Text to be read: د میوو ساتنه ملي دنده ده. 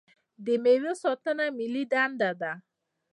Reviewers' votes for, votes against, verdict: 2, 0, accepted